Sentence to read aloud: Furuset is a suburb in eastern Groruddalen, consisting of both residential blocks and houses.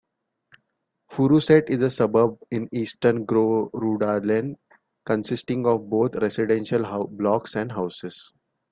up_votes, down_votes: 0, 2